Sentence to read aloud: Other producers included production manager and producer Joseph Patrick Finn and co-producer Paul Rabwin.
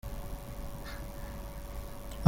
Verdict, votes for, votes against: rejected, 0, 2